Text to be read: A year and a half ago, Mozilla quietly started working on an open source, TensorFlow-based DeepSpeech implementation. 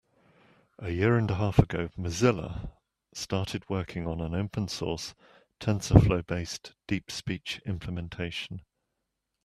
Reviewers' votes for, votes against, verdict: 0, 2, rejected